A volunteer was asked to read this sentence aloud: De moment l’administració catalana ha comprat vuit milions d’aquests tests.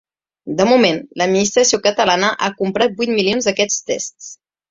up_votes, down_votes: 2, 0